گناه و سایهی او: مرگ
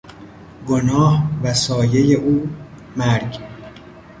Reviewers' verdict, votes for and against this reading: accepted, 2, 0